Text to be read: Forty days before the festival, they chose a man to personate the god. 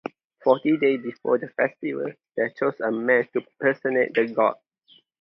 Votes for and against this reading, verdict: 2, 0, accepted